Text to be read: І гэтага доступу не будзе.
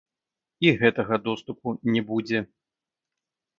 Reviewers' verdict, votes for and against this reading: rejected, 1, 2